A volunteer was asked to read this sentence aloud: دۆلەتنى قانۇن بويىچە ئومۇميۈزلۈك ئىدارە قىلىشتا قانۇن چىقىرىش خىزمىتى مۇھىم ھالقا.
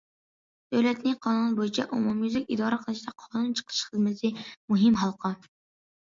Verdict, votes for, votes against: accepted, 2, 0